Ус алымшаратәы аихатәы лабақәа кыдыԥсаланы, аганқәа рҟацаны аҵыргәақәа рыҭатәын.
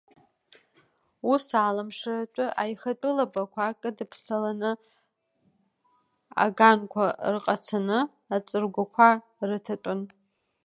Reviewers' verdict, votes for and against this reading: rejected, 1, 2